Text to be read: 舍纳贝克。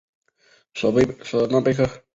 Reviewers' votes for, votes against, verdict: 1, 2, rejected